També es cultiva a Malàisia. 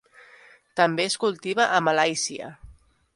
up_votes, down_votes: 2, 0